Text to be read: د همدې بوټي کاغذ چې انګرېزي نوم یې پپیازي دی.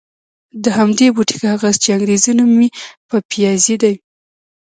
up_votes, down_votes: 1, 2